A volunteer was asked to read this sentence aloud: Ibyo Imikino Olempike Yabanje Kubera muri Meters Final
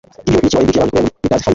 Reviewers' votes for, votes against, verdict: 2, 0, accepted